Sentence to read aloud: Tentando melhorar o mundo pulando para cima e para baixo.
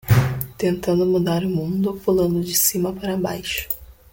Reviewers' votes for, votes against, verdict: 1, 2, rejected